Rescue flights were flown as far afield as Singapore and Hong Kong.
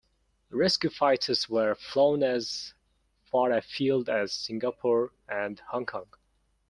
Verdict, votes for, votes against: rejected, 0, 2